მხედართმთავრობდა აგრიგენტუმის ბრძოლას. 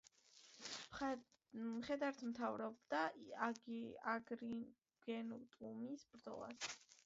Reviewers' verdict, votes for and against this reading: rejected, 0, 2